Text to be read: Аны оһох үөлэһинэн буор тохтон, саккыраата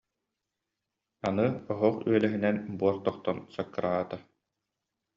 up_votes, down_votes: 2, 0